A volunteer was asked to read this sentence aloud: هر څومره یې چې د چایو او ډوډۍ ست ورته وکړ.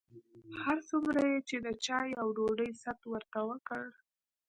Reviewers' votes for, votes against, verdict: 3, 0, accepted